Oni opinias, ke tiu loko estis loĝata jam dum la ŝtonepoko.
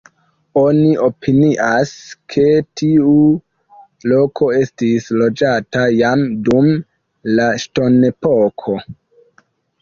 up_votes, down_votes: 2, 1